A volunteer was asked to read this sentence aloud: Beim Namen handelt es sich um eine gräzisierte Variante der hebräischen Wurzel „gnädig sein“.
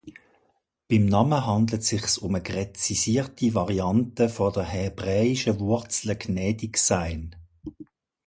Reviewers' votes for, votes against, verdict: 0, 2, rejected